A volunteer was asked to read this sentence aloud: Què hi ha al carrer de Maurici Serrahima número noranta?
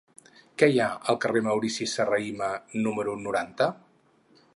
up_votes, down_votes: 0, 4